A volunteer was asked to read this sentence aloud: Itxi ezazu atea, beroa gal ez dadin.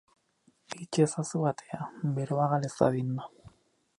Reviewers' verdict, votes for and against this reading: accepted, 10, 4